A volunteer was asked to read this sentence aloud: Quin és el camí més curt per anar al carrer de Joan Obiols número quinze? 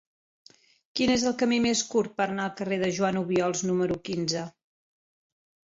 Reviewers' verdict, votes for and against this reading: accepted, 2, 0